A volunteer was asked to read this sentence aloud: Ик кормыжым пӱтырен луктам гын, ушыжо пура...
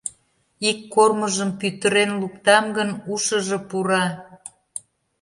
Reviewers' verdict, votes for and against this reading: accepted, 2, 0